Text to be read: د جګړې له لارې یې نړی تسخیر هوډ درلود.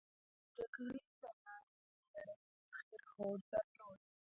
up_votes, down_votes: 0, 2